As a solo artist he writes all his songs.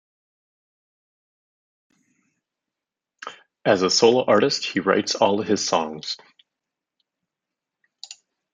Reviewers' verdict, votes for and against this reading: accepted, 2, 1